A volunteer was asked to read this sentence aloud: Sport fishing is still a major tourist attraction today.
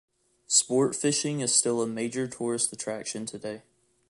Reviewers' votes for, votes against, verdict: 2, 0, accepted